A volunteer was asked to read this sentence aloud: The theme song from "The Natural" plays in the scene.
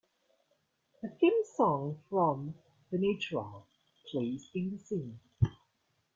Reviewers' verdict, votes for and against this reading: rejected, 1, 2